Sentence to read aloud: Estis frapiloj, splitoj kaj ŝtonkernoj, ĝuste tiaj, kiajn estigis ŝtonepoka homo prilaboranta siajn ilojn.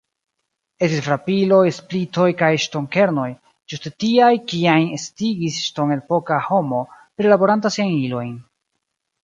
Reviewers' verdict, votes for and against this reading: rejected, 0, 2